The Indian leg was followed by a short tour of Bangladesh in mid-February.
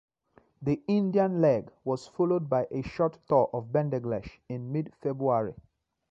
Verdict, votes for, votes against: rejected, 0, 2